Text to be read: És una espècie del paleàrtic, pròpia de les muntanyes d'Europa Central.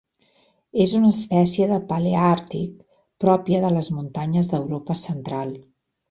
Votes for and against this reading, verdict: 2, 0, accepted